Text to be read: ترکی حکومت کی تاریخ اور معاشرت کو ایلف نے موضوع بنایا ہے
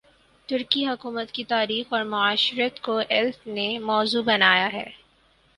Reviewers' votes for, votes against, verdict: 6, 0, accepted